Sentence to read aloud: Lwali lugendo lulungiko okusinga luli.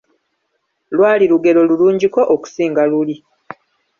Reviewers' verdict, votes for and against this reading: rejected, 1, 2